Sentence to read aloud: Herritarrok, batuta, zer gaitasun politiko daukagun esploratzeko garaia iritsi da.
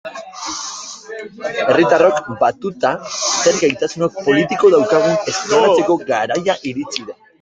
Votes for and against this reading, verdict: 0, 2, rejected